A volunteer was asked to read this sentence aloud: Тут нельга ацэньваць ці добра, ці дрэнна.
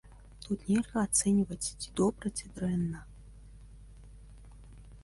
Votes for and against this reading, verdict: 2, 0, accepted